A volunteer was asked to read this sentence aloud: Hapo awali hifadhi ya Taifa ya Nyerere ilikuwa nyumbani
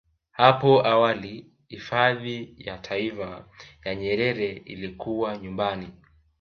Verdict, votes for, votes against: rejected, 1, 2